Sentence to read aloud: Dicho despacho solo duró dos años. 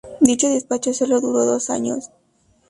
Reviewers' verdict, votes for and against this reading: accepted, 2, 0